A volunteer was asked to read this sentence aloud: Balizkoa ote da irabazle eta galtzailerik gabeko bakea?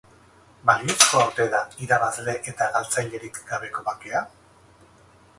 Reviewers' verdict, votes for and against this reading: accepted, 2, 0